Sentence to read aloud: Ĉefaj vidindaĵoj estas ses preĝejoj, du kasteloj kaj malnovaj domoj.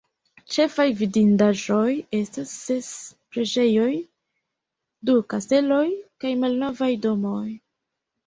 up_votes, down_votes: 0, 2